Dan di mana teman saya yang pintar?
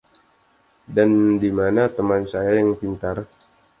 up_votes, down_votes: 2, 0